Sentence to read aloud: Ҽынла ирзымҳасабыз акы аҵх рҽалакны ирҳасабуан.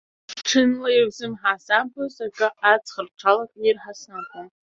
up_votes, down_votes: 0, 3